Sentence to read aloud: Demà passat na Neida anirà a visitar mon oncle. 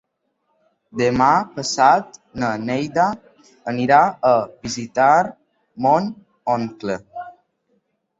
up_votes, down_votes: 3, 0